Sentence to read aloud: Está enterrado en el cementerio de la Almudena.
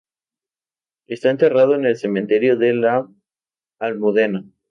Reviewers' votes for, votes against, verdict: 2, 0, accepted